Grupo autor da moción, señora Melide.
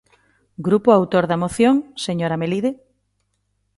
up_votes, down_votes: 2, 0